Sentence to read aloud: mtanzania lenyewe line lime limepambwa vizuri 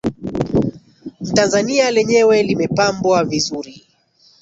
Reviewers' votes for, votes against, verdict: 0, 2, rejected